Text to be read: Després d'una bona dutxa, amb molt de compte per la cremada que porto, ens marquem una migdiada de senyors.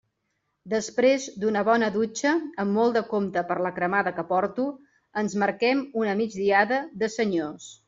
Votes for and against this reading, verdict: 3, 0, accepted